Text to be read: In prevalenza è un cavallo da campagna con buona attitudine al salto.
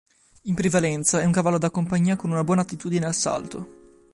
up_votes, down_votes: 1, 3